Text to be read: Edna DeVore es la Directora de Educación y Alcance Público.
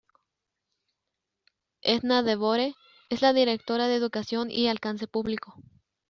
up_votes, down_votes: 0, 2